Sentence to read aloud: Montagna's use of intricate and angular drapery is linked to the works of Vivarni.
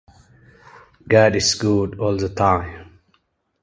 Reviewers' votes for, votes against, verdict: 0, 2, rejected